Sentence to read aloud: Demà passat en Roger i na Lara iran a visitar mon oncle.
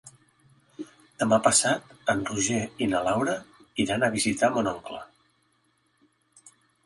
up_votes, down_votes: 0, 2